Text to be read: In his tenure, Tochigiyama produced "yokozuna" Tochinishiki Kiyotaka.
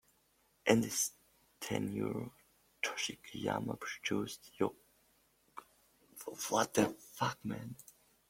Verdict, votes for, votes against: rejected, 0, 2